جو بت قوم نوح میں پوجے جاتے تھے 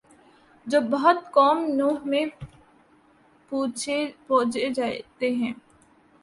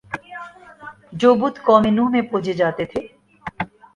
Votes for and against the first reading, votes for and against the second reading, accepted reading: 0, 2, 2, 0, second